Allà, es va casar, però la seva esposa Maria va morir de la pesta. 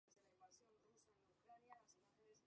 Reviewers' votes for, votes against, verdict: 0, 2, rejected